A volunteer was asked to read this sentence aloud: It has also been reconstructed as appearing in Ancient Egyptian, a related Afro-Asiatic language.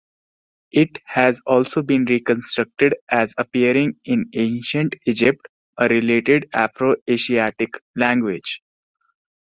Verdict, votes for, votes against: rejected, 1, 2